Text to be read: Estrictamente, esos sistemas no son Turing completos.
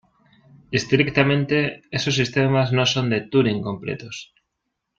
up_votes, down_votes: 1, 2